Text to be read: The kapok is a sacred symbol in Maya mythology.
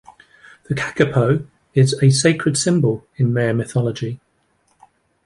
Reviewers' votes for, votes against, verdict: 0, 2, rejected